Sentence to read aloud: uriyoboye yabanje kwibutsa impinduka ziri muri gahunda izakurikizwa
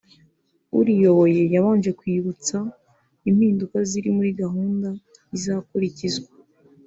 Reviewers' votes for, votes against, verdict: 2, 0, accepted